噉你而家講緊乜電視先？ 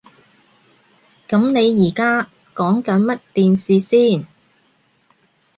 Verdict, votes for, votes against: accepted, 2, 0